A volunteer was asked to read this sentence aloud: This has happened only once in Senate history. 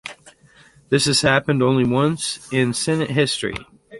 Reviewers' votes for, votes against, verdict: 2, 0, accepted